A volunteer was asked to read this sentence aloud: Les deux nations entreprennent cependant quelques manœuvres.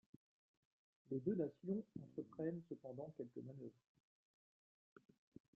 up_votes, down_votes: 1, 2